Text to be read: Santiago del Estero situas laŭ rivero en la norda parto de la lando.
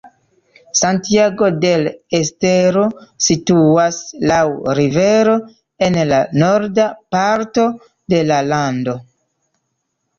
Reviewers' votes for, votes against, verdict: 2, 0, accepted